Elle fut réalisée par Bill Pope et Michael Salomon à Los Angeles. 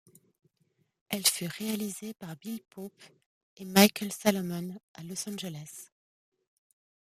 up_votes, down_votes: 2, 0